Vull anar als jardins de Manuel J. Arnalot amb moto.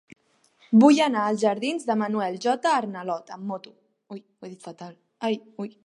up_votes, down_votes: 0, 2